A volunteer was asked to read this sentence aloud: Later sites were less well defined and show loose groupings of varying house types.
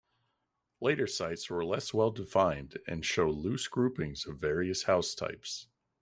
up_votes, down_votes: 1, 2